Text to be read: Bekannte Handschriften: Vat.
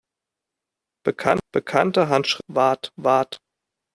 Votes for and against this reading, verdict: 0, 2, rejected